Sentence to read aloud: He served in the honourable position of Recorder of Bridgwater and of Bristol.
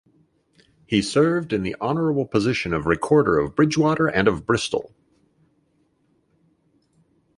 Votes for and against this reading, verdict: 2, 0, accepted